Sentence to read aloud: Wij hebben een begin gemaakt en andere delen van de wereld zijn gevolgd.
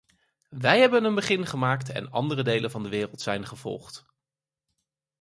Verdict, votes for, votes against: accepted, 4, 0